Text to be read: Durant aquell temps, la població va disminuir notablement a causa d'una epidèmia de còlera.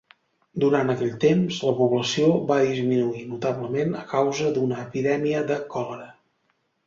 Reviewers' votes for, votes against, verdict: 2, 0, accepted